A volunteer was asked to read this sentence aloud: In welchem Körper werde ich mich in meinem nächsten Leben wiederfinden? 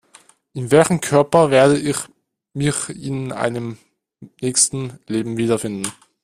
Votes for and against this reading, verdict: 1, 2, rejected